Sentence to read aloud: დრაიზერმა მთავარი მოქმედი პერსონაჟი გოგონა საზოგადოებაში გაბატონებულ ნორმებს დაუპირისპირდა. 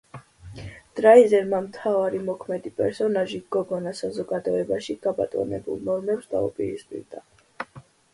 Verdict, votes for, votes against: accepted, 2, 0